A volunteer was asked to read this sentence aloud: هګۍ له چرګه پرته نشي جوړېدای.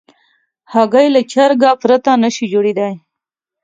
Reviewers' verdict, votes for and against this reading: accepted, 2, 0